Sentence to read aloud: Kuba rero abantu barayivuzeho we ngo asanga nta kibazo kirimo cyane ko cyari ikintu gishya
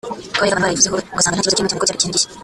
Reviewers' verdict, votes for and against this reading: rejected, 0, 2